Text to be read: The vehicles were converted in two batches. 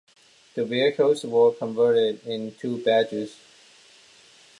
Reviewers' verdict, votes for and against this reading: rejected, 1, 2